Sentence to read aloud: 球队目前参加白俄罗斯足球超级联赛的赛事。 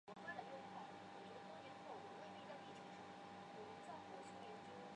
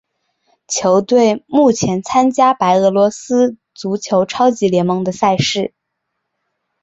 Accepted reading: second